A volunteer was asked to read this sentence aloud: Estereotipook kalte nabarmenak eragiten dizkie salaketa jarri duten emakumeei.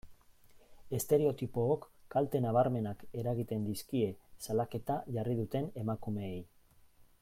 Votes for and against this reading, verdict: 2, 0, accepted